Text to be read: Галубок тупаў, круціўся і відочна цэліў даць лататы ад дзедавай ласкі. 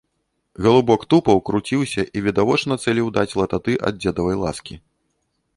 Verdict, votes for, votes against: rejected, 1, 2